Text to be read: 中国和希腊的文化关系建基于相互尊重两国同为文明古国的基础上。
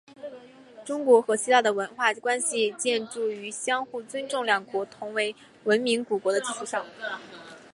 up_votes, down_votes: 3, 2